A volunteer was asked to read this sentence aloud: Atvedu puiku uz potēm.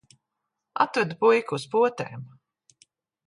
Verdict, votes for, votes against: accepted, 2, 1